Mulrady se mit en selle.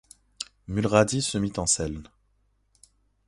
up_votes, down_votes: 2, 0